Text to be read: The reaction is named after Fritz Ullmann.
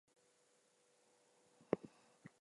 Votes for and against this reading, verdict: 0, 2, rejected